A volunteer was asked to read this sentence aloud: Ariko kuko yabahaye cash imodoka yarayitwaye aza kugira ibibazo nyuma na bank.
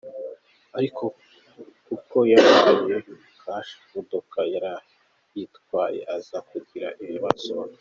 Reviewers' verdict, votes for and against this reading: rejected, 0, 2